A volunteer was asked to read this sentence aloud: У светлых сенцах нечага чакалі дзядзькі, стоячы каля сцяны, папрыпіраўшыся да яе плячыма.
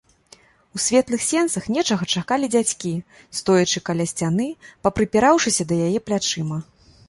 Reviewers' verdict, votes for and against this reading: rejected, 0, 2